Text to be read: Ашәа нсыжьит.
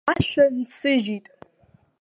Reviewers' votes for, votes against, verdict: 1, 2, rejected